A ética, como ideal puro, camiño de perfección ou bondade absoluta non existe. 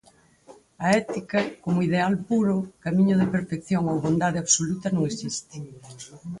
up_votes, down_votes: 0, 4